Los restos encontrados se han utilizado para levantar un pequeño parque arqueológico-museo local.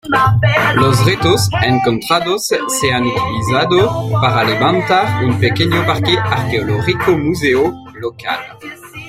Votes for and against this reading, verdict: 1, 2, rejected